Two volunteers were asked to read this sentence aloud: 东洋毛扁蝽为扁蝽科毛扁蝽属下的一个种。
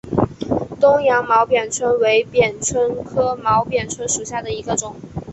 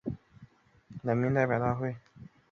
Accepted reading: first